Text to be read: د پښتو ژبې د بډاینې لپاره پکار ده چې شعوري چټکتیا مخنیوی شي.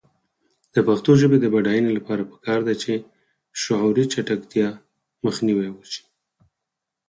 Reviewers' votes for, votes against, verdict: 2, 4, rejected